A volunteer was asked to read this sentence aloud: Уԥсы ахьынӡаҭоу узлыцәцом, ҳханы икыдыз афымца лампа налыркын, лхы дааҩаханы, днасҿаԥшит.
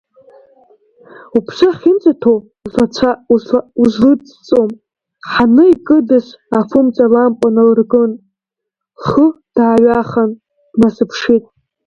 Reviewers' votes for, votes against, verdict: 0, 2, rejected